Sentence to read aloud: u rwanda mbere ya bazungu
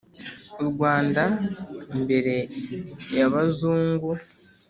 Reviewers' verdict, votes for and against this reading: rejected, 1, 2